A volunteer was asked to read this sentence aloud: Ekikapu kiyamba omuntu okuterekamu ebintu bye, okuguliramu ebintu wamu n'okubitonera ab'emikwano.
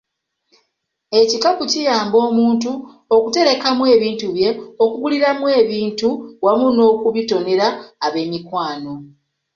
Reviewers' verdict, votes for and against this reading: accepted, 2, 0